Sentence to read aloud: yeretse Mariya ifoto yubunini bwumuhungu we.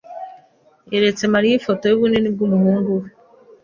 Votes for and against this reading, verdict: 2, 0, accepted